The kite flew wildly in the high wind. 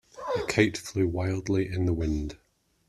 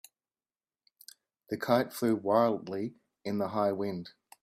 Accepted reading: second